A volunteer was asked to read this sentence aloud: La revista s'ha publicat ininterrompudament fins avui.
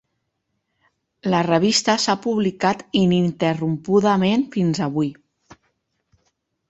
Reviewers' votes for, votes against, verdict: 3, 0, accepted